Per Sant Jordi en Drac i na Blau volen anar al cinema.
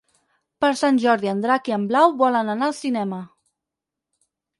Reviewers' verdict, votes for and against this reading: rejected, 2, 4